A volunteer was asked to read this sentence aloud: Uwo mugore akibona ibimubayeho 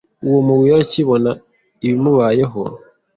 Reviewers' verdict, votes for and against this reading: accepted, 2, 0